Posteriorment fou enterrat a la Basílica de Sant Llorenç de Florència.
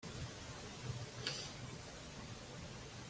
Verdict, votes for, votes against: rejected, 0, 2